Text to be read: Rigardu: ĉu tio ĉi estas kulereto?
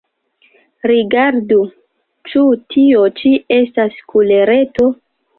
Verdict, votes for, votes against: rejected, 1, 2